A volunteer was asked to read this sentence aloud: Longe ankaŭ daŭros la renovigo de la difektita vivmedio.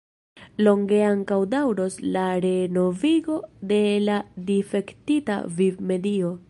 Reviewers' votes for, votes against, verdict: 2, 0, accepted